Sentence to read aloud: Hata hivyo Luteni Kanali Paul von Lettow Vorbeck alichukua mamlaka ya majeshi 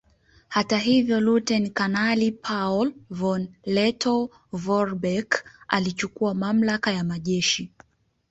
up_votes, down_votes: 0, 2